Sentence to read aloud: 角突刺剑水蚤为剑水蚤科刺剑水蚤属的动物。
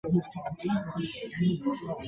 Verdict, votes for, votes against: rejected, 0, 2